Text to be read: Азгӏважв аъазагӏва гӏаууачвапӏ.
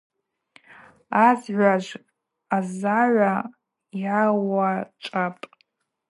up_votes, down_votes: 0, 2